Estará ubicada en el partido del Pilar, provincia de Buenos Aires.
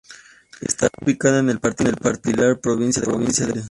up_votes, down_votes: 0, 2